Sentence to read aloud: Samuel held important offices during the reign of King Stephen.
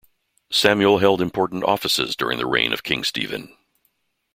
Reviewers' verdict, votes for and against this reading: accepted, 2, 0